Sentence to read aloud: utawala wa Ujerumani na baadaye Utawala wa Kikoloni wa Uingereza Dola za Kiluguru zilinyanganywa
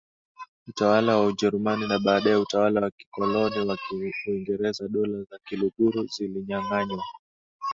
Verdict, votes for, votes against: accepted, 2, 0